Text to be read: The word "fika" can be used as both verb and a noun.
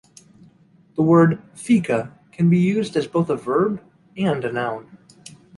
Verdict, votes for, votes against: rejected, 0, 2